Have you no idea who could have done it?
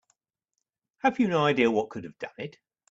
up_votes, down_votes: 0, 2